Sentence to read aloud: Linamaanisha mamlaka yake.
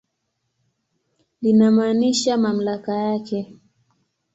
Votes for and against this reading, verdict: 10, 0, accepted